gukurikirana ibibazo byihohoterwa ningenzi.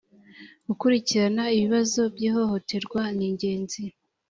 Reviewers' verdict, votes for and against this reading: accepted, 2, 0